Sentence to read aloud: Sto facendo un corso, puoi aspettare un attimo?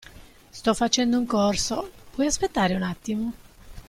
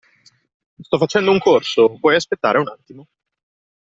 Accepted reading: first